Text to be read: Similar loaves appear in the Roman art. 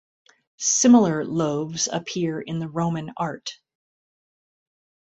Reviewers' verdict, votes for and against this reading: accepted, 2, 0